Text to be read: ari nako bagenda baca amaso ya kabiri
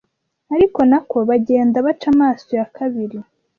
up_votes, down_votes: 0, 2